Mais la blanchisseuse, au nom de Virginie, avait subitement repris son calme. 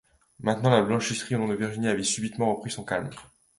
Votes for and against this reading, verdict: 1, 2, rejected